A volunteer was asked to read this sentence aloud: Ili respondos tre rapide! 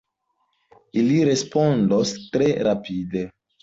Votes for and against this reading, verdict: 2, 0, accepted